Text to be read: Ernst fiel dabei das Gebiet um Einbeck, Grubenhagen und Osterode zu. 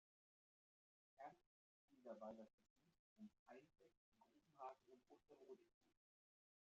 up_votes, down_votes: 0, 2